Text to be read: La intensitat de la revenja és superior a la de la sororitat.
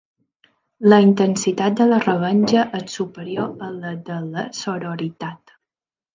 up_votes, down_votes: 3, 1